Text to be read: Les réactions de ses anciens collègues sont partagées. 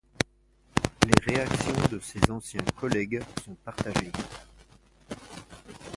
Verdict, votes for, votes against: rejected, 0, 2